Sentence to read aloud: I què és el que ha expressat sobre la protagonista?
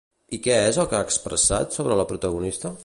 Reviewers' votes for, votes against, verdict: 2, 0, accepted